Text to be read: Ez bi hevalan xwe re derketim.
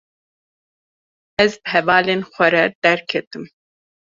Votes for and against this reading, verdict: 0, 2, rejected